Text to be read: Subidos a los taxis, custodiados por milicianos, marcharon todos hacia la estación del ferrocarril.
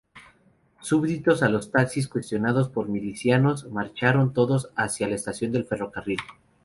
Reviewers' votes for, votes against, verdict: 0, 2, rejected